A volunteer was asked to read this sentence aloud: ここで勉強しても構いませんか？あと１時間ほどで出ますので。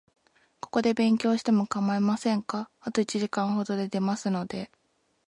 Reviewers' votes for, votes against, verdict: 0, 2, rejected